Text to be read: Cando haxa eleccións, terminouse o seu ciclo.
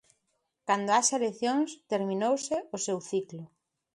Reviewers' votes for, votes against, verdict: 2, 0, accepted